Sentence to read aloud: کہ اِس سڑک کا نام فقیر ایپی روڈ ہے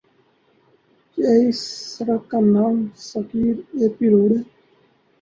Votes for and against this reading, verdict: 0, 2, rejected